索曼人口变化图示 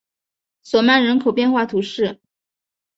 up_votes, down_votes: 3, 0